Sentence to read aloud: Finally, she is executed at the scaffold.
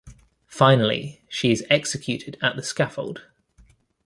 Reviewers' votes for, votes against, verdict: 1, 2, rejected